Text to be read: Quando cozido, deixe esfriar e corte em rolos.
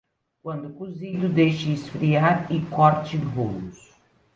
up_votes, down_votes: 1, 2